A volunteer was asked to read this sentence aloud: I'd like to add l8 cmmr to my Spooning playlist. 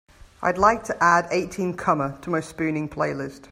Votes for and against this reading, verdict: 0, 2, rejected